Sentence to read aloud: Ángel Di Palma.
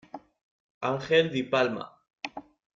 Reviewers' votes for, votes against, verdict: 2, 0, accepted